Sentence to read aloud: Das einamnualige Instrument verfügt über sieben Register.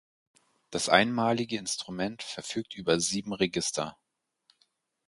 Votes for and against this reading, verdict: 0, 4, rejected